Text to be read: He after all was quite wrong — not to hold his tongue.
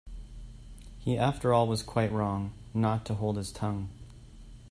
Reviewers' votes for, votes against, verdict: 2, 0, accepted